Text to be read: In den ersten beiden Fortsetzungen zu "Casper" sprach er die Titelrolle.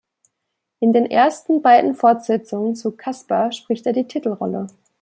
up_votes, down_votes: 1, 2